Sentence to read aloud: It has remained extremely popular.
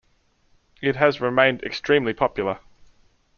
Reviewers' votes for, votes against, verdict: 2, 0, accepted